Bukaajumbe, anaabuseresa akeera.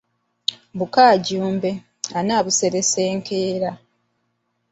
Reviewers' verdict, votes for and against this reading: rejected, 0, 2